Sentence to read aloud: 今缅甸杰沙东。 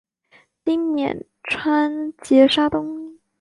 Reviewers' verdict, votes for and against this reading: rejected, 1, 3